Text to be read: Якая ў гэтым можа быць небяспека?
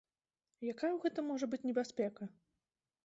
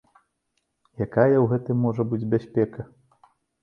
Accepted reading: first